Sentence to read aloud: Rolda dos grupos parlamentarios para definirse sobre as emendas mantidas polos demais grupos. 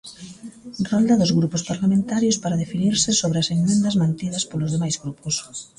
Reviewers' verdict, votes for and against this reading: accepted, 2, 1